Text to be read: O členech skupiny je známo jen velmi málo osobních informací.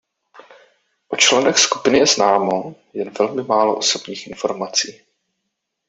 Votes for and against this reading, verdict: 2, 0, accepted